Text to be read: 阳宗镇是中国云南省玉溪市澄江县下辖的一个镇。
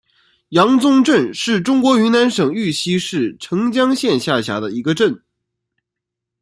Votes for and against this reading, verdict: 2, 0, accepted